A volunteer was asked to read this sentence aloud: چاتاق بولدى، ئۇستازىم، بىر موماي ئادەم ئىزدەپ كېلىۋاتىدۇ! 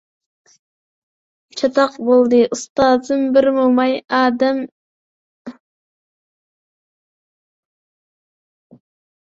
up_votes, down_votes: 0, 2